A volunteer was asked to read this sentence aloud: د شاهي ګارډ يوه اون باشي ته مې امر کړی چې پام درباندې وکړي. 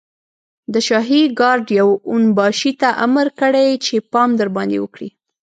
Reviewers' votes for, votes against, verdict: 1, 2, rejected